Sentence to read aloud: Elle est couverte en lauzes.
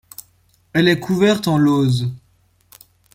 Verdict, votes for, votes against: accepted, 2, 0